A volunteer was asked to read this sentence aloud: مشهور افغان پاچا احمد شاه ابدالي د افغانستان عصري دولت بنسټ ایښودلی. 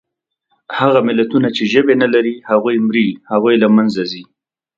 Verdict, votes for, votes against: rejected, 0, 2